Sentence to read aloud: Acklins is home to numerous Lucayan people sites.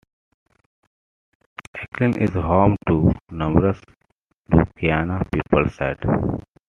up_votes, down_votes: 0, 2